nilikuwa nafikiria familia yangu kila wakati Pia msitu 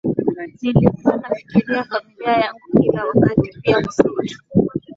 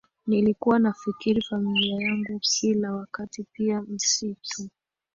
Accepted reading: second